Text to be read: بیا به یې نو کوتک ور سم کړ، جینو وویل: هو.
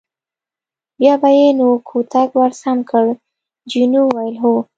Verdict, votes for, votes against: accepted, 2, 0